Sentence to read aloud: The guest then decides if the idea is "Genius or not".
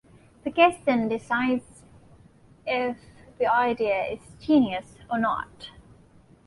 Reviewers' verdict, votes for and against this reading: accepted, 2, 1